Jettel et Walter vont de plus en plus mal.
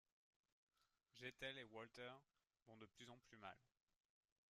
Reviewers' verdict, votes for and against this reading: rejected, 0, 2